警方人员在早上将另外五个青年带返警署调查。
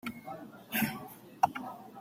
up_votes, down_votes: 0, 2